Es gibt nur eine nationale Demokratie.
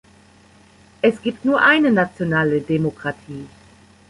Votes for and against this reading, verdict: 1, 2, rejected